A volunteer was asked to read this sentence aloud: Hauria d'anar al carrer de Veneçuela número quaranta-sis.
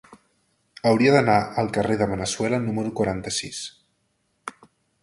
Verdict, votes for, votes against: accepted, 2, 0